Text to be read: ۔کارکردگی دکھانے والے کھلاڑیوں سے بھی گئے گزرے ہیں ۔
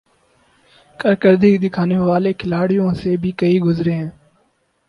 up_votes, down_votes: 4, 0